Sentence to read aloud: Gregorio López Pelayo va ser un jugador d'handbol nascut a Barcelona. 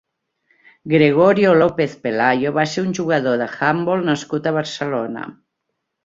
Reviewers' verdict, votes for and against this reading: rejected, 1, 2